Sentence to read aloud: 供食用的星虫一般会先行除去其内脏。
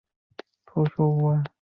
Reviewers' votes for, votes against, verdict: 0, 2, rejected